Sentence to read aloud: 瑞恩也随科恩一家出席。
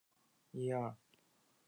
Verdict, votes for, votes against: rejected, 0, 3